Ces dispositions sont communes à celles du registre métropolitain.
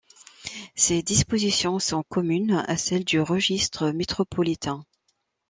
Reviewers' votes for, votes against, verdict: 2, 0, accepted